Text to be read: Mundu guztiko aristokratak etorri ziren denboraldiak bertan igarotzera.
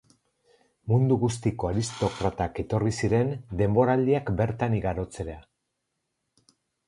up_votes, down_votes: 4, 0